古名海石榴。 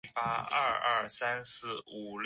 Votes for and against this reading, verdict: 0, 3, rejected